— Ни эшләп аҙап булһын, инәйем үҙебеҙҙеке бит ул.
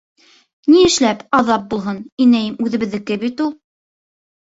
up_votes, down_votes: 2, 0